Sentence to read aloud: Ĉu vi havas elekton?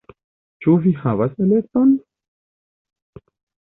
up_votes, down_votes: 1, 2